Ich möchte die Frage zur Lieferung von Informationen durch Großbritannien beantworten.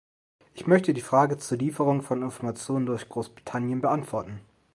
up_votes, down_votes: 2, 0